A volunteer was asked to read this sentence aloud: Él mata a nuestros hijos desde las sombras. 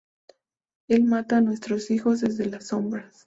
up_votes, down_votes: 2, 0